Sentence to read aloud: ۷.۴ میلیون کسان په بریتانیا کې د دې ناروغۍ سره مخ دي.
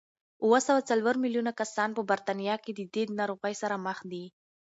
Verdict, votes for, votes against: rejected, 0, 2